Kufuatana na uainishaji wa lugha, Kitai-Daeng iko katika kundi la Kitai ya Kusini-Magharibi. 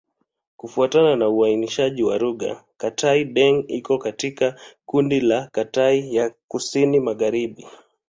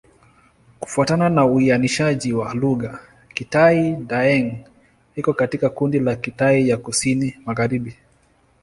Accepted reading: second